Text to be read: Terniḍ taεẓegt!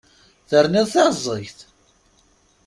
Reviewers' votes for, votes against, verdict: 2, 0, accepted